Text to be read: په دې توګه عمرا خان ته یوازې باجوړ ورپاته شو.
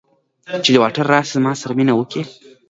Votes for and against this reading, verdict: 2, 0, accepted